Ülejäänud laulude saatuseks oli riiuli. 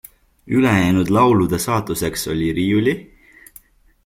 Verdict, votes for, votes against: accepted, 2, 1